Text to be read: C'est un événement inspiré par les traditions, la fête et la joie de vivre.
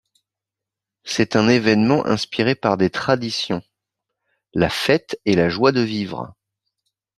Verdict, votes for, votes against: rejected, 1, 2